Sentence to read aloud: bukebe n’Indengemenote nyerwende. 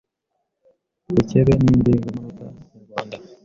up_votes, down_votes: 0, 2